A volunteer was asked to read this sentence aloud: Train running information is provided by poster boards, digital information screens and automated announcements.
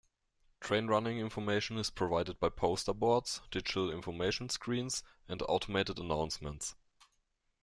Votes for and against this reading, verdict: 2, 0, accepted